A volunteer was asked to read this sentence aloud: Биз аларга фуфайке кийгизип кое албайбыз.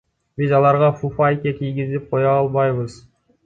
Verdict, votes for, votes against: accepted, 2, 0